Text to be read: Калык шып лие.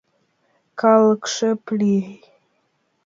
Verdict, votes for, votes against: rejected, 1, 2